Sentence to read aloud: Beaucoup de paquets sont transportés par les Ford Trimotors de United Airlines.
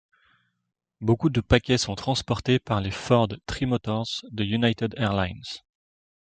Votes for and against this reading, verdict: 2, 0, accepted